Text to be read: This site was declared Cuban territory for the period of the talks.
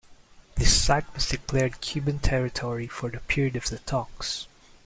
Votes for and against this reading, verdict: 0, 2, rejected